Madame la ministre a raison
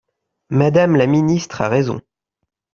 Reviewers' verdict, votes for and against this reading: accepted, 2, 0